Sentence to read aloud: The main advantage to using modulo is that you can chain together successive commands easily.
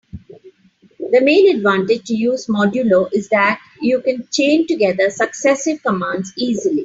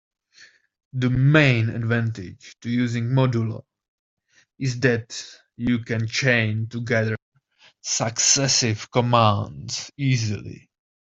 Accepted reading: second